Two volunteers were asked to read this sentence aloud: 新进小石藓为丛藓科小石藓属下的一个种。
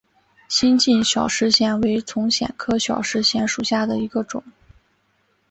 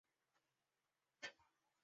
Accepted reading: first